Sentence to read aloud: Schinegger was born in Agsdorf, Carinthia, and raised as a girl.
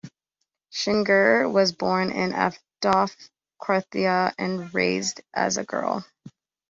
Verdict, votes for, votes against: rejected, 0, 2